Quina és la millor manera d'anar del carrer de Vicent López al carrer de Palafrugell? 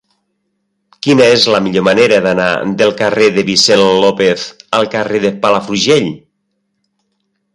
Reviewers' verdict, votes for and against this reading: accepted, 4, 0